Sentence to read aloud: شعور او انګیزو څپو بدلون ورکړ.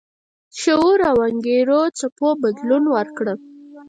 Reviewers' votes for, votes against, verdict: 4, 0, accepted